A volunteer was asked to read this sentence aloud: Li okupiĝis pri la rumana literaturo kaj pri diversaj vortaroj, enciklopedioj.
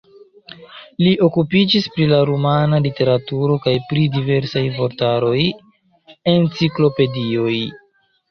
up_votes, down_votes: 1, 2